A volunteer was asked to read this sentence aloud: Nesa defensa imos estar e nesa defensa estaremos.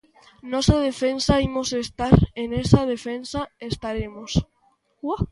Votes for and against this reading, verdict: 0, 2, rejected